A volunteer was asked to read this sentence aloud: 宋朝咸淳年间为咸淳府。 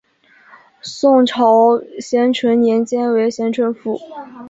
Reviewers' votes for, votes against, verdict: 2, 0, accepted